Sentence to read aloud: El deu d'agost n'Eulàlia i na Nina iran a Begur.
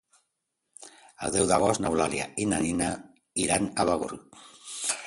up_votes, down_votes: 2, 0